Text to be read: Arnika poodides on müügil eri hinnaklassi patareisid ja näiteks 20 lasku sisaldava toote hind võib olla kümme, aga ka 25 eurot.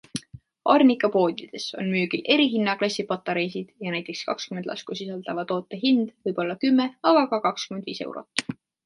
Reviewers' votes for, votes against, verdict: 0, 2, rejected